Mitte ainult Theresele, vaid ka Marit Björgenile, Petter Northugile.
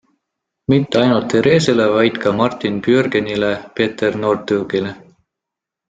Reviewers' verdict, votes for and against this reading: accepted, 2, 0